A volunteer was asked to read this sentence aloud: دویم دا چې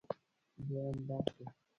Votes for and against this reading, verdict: 0, 2, rejected